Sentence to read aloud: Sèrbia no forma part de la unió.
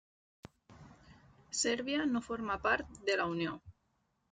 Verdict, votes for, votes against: accepted, 3, 0